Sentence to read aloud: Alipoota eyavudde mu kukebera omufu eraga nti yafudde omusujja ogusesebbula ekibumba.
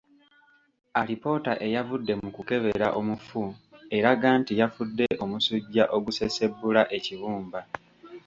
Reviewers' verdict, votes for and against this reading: accepted, 2, 0